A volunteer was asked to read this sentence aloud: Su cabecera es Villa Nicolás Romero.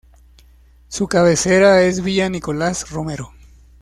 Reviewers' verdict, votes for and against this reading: accepted, 2, 0